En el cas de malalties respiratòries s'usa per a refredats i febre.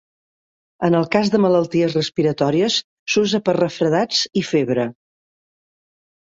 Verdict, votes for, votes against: rejected, 1, 2